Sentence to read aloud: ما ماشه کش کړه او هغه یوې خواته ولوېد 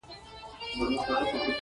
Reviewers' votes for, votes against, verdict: 1, 2, rejected